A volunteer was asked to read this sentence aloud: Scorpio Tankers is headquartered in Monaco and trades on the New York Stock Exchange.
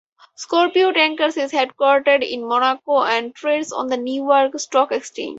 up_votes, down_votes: 2, 2